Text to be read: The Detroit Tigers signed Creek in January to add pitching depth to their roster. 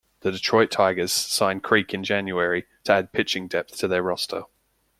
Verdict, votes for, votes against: rejected, 1, 2